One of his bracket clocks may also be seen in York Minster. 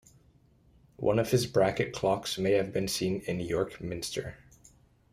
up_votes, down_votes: 0, 2